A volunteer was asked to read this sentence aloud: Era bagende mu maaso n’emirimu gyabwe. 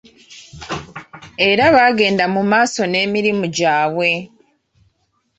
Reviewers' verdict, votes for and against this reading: rejected, 1, 2